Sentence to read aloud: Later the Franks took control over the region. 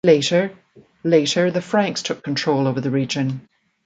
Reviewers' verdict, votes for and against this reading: rejected, 0, 2